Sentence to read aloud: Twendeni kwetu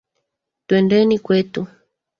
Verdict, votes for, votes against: rejected, 1, 2